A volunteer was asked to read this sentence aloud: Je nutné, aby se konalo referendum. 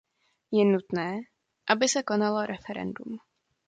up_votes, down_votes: 2, 0